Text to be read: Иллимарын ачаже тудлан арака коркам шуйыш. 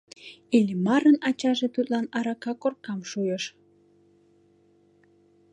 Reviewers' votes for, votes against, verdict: 2, 0, accepted